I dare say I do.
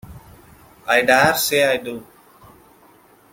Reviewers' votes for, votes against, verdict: 2, 1, accepted